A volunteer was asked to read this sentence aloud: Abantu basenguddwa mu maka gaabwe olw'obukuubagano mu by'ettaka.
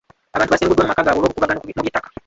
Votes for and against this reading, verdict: 0, 2, rejected